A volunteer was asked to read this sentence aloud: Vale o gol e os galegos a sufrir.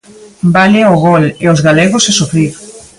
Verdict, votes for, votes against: accepted, 2, 0